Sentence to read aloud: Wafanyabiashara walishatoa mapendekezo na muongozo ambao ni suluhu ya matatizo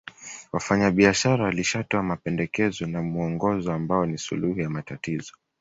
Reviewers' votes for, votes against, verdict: 2, 0, accepted